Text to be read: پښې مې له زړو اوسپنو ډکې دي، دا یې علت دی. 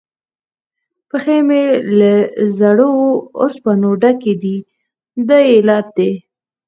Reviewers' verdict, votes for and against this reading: rejected, 0, 4